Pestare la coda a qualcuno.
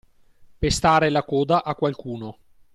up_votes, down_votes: 2, 0